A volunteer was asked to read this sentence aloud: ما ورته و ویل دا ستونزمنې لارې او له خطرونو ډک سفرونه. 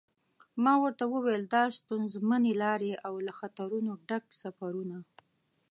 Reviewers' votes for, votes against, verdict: 2, 0, accepted